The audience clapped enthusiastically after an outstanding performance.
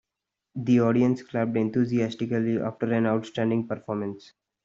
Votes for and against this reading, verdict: 2, 0, accepted